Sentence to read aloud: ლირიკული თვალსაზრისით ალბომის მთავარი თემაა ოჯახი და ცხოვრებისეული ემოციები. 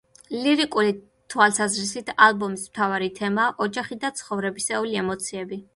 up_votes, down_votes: 1, 2